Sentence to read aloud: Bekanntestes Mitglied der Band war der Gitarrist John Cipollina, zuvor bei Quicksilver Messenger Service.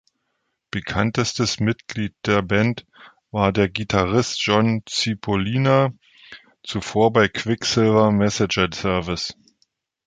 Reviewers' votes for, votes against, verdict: 1, 3, rejected